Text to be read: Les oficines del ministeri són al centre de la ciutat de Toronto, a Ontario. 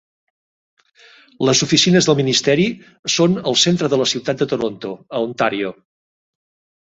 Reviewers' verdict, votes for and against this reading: accepted, 2, 0